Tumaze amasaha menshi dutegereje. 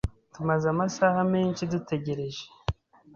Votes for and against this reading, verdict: 2, 0, accepted